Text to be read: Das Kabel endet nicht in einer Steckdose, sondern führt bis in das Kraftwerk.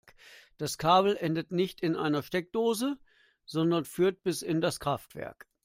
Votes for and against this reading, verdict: 2, 1, accepted